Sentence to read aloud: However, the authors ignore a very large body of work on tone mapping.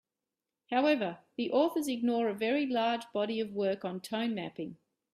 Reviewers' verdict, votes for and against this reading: accepted, 2, 0